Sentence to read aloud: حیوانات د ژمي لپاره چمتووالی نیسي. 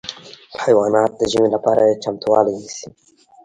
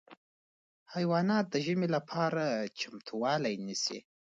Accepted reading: second